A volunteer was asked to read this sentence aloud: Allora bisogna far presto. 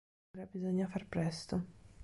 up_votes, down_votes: 0, 2